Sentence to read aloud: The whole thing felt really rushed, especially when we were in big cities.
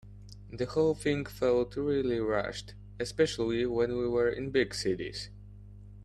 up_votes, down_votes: 2, 0